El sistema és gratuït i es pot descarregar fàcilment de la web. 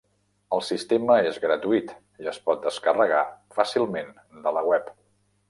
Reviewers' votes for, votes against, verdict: 3, 1, accepted